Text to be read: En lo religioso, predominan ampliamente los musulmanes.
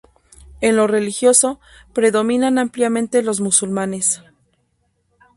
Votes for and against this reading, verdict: 2, 2, rejected